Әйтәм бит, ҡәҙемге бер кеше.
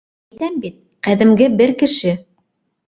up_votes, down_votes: 1, 2